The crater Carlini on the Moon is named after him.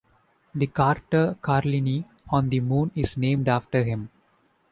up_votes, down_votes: 1, 2